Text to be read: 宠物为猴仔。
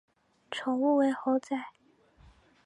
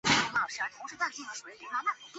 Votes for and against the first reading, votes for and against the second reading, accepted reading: 5, 1, 0, 5, first